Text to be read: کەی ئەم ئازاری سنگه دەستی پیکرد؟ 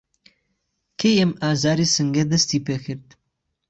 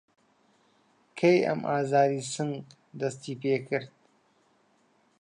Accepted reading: first